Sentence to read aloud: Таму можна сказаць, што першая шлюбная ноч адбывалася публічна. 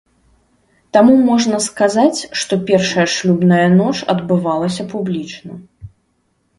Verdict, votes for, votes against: accepted, 2, 0